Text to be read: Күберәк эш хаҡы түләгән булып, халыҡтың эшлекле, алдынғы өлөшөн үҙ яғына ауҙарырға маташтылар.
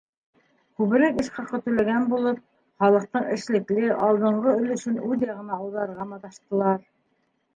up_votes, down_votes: 1, 2